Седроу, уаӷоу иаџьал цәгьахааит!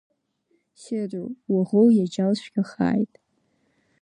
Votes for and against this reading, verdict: 2, 1, accepted